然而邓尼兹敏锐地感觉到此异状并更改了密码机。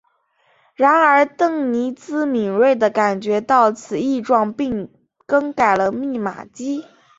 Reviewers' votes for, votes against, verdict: 2, 1, accepted